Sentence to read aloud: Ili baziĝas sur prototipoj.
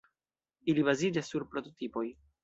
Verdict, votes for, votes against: accepted, 2, 0